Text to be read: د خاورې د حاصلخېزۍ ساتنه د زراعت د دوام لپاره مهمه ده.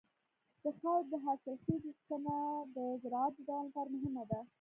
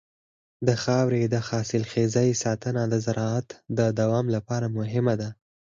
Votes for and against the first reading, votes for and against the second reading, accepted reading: 1, 2, 4, 0, second